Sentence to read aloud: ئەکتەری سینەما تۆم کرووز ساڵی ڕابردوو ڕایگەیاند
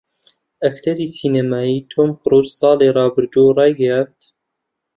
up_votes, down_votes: 0, 2